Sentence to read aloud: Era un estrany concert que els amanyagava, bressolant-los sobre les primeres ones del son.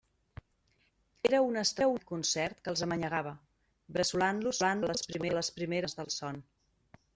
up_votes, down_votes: 0, 2